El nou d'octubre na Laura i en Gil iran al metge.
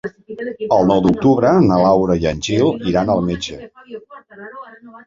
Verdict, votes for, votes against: accepted, 2, 1